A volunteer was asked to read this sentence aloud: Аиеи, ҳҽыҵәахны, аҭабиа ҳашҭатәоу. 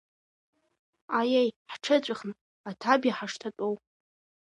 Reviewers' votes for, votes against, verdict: 2, 0, accepted